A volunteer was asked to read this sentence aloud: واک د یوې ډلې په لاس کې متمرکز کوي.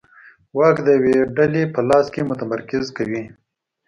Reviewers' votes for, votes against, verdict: 2, 0, accepted